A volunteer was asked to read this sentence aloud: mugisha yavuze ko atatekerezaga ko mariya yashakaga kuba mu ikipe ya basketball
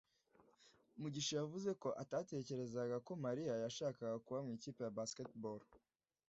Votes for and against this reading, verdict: 2, 0, accepted